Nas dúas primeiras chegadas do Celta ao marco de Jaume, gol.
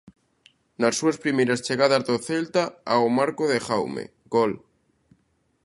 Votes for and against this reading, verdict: 0, 2, rejected